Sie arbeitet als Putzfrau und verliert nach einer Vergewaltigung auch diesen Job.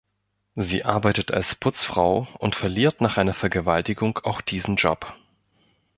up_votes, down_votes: 2, 0